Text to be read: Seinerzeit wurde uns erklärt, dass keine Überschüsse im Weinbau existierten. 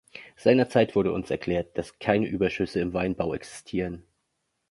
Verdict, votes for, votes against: rejected, 0, 2